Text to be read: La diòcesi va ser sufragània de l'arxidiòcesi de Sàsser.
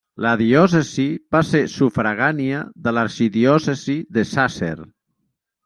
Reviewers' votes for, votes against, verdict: 3, 0, accepted